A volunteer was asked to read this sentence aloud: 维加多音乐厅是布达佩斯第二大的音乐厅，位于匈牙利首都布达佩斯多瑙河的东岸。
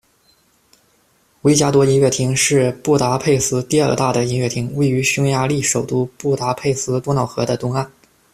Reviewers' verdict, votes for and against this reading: accepted, 2, 0